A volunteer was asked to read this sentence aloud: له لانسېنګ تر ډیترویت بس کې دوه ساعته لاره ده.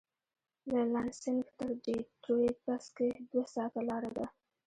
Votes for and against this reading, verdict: 1, 2, rejected